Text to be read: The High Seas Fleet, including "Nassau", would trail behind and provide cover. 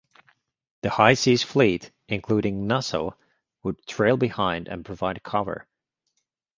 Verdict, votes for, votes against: accepted, 2, 0